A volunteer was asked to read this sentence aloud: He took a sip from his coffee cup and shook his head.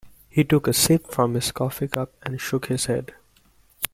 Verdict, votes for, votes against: accepted, 2, 0